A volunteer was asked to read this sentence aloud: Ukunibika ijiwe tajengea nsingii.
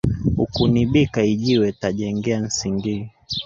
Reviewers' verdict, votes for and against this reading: rejected, 1, 2